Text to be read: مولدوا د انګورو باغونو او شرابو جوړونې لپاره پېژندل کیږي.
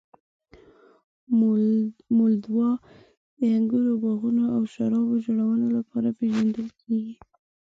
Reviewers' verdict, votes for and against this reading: rejected, 1, 2